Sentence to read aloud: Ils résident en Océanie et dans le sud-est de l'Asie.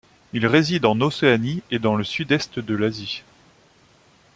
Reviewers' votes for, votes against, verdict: 2, 0, accepted